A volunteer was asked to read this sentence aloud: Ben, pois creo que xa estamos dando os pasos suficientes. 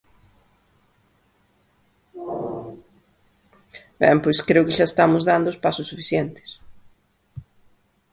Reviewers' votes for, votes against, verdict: 2, 0, accepted